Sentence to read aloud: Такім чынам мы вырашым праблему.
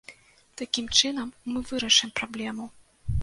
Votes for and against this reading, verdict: 2, 0, accepted